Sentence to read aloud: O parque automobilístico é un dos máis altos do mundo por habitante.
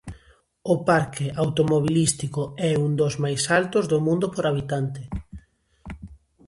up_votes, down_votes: 2, 0